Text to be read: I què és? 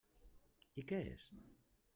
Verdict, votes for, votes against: accepted, 3, 0